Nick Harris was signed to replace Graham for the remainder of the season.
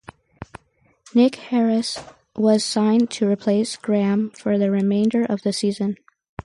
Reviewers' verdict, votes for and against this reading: accepted, 4, 0